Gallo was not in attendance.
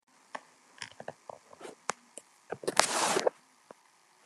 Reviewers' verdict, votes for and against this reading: rejected, 0, 2